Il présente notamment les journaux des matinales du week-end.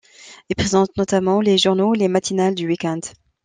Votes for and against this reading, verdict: 1, 2, rejected